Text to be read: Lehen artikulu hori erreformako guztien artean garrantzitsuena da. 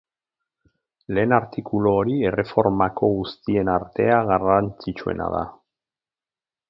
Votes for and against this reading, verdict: 2, 4, rejected